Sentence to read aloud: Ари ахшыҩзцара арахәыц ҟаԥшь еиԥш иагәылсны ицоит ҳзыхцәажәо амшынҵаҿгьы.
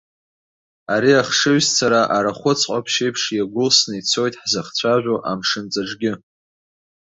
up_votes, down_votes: 2, 0